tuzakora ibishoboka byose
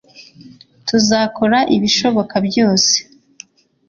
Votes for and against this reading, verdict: 2, 0, accepted